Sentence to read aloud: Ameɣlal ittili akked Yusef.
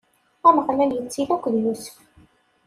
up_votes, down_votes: 2, 1